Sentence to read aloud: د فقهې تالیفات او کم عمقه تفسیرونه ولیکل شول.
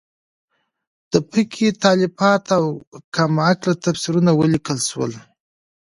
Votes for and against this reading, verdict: 0, 2, rejected